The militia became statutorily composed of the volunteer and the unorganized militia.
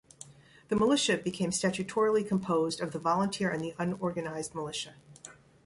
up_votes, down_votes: 1, 2